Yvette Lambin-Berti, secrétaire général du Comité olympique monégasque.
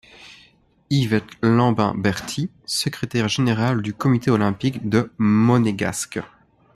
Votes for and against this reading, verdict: 0, 2, rejected